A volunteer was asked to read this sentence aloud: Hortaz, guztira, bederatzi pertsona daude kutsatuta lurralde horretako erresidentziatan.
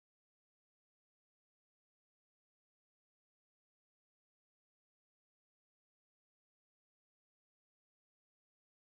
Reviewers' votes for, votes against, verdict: 0, 3, rejected